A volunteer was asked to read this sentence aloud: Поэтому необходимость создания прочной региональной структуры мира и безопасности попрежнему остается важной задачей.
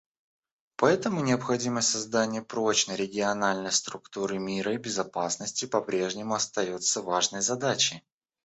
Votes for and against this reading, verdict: 1, 2, rejected